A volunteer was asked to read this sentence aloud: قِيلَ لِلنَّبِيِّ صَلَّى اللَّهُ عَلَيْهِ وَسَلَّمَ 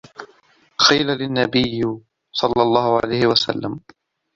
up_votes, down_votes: 0, 2